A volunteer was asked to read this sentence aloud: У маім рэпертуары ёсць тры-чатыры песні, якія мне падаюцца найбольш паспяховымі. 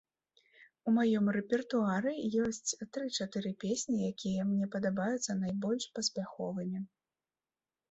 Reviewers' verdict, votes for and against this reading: rejected, 1, 2